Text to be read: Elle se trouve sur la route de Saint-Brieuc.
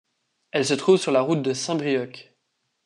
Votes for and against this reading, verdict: 1, 2, rejected